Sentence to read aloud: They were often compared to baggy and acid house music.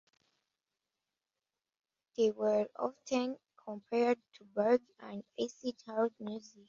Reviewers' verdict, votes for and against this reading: rejected, 1, 2